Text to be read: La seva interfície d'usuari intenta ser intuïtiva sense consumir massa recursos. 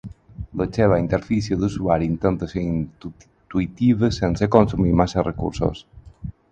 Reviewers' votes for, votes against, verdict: 0, 4, rejected